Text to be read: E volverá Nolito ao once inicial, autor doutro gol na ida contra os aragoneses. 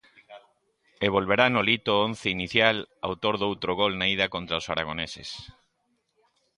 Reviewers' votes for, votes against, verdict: 2, 0, accepted